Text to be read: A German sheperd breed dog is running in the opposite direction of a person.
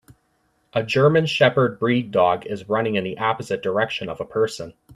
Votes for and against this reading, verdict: 2, 0, accepted